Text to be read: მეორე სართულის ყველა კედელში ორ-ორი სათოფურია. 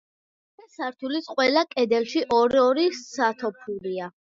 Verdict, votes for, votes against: accepted, 2, 1